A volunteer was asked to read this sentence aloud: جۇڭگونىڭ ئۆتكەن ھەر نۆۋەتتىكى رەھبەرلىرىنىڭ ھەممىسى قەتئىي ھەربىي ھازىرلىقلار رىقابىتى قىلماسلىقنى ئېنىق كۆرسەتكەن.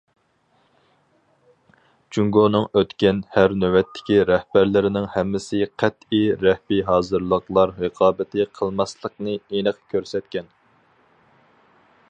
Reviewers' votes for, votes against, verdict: 0, 2, rejected